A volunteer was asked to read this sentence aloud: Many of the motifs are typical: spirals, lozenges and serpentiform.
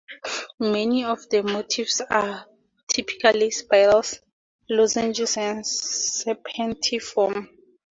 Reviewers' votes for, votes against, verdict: 2, 0, accepted